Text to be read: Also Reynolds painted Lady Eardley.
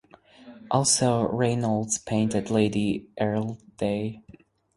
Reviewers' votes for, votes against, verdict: 0, 4, rejected